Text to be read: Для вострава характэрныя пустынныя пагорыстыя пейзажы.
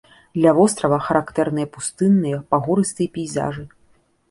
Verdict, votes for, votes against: accepted, 2, 0